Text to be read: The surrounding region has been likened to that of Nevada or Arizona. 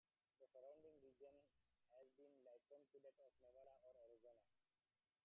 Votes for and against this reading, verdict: 0, 2, rejected